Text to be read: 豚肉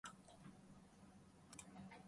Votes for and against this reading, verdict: 0, 2, rejected